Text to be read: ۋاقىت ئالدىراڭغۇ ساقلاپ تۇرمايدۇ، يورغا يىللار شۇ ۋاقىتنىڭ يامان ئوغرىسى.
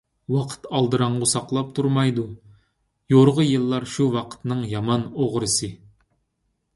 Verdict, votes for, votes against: accepted, 2, 0